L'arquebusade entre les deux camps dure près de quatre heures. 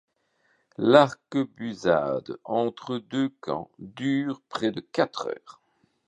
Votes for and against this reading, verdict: 0, 2, rejected